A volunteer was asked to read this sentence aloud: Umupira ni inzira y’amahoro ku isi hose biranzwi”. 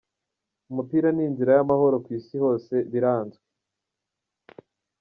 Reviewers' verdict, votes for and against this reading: rejected, 0, 2